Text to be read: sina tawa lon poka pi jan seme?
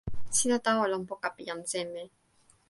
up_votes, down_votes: 2, 0